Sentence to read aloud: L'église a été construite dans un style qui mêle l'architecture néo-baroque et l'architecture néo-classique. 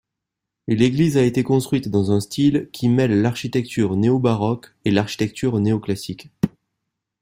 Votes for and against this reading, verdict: 2, 0, accepted